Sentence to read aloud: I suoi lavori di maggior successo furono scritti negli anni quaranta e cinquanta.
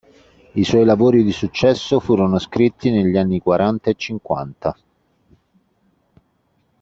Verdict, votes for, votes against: rejected, 1, 2